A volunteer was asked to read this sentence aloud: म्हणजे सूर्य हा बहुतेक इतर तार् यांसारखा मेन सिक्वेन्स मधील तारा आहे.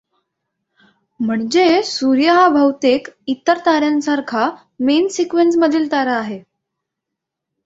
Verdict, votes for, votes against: accepted, 2, 0